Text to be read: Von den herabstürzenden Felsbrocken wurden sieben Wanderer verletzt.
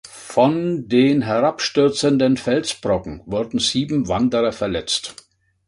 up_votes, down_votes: 2, 0